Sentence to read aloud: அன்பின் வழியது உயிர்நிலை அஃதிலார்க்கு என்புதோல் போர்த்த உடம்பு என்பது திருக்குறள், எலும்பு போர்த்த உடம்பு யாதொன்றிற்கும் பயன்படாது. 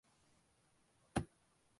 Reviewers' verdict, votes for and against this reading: rejected, 0, 2